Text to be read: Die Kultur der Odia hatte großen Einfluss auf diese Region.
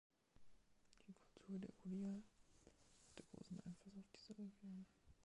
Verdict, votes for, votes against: rejected, 0, 2